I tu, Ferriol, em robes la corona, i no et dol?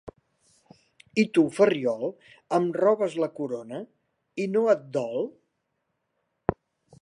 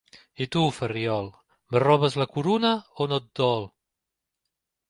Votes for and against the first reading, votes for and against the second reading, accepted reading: 2, 0, 0, 2, first